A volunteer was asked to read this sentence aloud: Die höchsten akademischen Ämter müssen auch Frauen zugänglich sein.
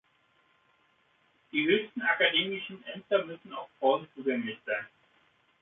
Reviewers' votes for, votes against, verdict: 2, 0, accepted